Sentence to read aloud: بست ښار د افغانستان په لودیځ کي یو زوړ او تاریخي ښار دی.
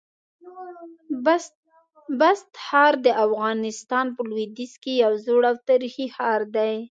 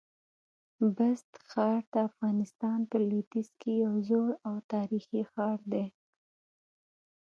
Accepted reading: second